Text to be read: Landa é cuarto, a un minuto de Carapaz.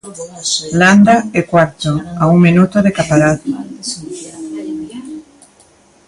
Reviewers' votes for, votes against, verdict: 0, 2, rejected